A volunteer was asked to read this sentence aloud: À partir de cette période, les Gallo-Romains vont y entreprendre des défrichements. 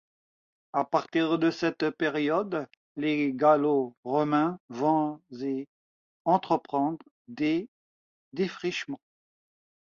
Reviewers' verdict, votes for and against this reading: rejected, 1, 2